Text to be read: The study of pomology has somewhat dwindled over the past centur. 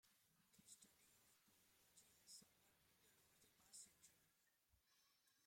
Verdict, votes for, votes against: rejected, 0, 2